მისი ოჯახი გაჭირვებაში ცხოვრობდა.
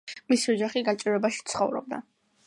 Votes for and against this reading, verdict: 2, 0, accepted